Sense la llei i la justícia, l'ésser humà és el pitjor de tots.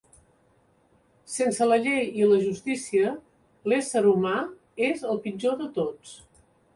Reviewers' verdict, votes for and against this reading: accepted, 5, 0